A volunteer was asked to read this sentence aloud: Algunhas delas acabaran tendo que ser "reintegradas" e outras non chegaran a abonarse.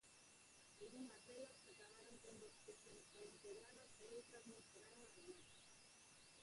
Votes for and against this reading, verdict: 0, 4, rejected